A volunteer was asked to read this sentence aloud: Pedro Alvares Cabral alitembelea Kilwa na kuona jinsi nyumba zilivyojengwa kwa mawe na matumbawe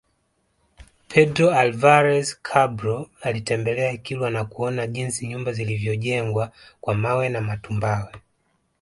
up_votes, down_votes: 2, 0